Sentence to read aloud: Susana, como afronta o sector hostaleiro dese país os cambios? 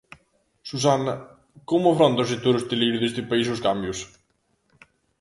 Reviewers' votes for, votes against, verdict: 0, 2, rejected